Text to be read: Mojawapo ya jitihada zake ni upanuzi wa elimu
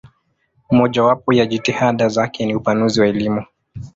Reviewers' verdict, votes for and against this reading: rejected, 0, 2